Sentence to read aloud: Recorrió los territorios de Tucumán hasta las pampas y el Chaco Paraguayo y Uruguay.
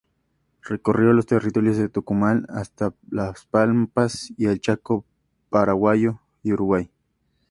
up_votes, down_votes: 2, 0